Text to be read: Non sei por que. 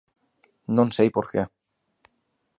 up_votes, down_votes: 2, 0